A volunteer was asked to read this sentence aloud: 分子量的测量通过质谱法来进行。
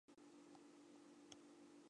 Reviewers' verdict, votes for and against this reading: rejected, 0, 3